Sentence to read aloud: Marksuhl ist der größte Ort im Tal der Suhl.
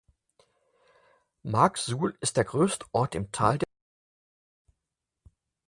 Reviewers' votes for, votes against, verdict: 0, 4, rejected